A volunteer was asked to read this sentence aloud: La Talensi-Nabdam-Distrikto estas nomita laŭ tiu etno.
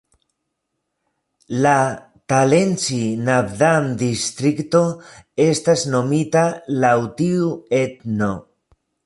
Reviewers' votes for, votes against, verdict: 2, 1, accepted